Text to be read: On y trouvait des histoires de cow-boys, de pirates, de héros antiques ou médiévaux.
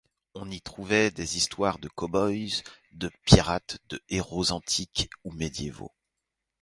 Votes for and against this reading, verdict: 0, 4, rejected